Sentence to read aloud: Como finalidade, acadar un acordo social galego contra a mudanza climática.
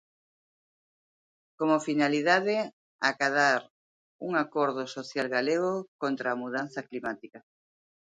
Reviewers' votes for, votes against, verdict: 2, 0, accepted